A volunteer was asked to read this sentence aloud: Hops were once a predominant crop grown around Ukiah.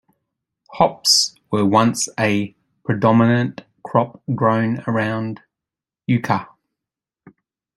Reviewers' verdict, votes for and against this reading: rejected, 0, 2